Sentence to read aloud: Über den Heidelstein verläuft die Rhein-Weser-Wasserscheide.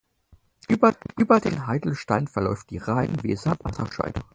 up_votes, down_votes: 0, 4